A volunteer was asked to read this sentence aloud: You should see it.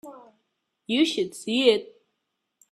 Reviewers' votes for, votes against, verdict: 3, 0, accepted